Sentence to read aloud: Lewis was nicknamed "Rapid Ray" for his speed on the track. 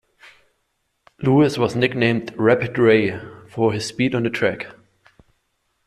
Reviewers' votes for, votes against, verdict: 2, 0, accepted